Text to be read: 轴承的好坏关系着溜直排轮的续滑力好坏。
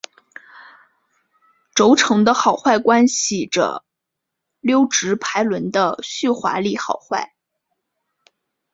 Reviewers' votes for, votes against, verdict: 4, 1, accepted